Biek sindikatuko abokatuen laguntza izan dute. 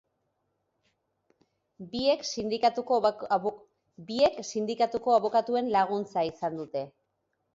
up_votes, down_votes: 0, 4